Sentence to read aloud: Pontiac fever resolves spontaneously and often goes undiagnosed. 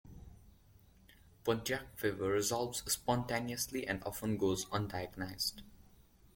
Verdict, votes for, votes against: rejected, 1, 2